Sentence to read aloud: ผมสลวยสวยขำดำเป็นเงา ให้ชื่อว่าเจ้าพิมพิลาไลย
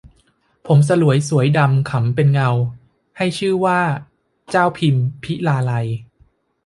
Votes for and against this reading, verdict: 0, 2, rejected